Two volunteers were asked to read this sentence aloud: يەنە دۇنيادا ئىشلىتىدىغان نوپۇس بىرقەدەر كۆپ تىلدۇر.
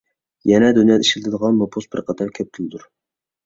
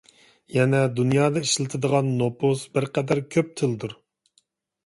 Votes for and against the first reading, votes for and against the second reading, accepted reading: 1, 2, 2, 0, second